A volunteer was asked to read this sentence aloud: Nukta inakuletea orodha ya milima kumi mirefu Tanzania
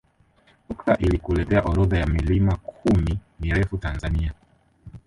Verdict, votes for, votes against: rejected, 1, 2